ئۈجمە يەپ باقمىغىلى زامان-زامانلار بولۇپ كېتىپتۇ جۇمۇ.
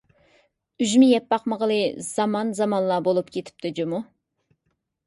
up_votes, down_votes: 2, 0